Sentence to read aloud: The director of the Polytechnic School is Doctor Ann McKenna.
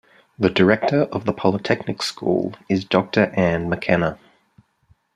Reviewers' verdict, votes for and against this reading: accepted, 2, 0